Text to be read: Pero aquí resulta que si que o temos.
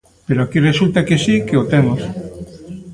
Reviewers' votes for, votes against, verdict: 2, 0, accepted